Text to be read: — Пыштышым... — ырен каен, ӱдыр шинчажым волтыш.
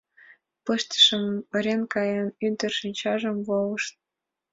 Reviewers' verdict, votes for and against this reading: rejected, 2, 4